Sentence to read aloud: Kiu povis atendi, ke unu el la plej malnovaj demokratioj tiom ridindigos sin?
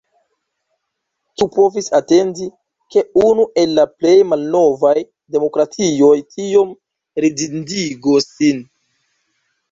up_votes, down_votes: 1, 2